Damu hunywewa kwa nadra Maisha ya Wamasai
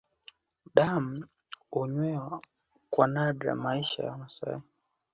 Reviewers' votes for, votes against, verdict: 2, 0, accepted